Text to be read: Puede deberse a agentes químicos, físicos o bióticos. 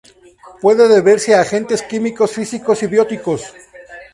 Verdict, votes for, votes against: rejected, 0, 2